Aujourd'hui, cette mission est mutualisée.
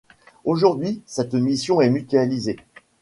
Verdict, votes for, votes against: accepted, 2, 1